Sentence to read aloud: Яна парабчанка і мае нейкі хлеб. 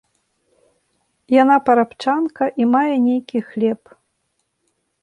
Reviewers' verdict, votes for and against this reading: accepted, 2, 0